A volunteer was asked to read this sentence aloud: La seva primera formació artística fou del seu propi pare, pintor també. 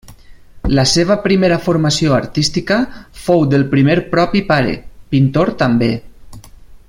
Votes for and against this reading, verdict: 0, 2, rejected